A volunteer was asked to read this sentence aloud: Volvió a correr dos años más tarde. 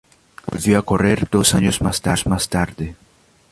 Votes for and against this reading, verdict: 0, 2, rejected